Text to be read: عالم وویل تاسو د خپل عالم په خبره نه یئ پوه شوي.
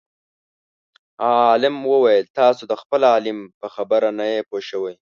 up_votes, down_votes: 0, 2